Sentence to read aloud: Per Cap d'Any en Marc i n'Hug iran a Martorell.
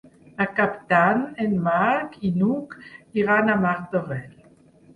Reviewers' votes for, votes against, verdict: 4, 0, accepted